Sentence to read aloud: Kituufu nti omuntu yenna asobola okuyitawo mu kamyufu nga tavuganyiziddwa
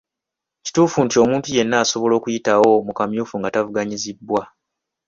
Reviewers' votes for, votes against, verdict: 2, 0, accepted